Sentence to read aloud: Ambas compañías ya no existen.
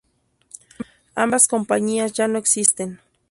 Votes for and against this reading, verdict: 4, 0, accepted